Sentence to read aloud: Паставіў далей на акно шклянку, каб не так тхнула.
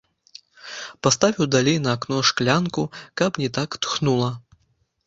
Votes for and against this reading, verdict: 2, 0, accepted